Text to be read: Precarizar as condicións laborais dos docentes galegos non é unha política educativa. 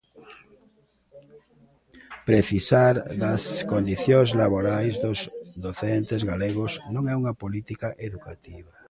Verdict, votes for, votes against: rejected, 0, 2